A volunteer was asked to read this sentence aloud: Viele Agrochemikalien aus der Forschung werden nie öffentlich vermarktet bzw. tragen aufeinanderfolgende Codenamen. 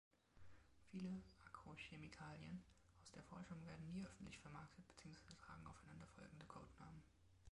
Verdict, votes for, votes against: rejected, 0, 2